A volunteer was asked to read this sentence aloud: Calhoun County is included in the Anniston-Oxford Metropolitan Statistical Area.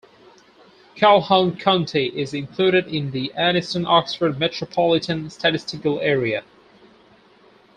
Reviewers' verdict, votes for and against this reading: rejected, 0, 4